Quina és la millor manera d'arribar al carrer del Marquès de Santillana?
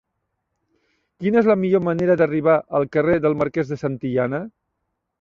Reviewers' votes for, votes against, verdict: 2, 0, accepted